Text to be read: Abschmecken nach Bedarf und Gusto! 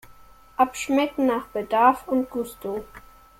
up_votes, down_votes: 2, 0